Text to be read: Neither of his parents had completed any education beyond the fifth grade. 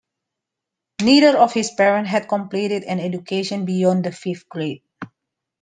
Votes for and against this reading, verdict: 1, 2, rejected